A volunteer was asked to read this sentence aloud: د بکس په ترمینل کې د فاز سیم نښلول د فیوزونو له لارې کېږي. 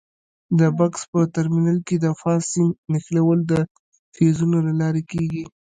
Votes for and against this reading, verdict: 2, 1, accepted